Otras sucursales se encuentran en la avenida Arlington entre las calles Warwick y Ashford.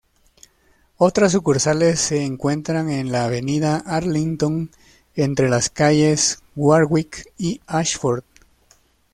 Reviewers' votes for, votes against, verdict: 2, 0, accepted